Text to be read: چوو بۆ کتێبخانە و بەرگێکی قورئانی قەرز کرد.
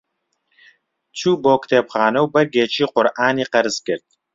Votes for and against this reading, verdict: 2, 0, accepted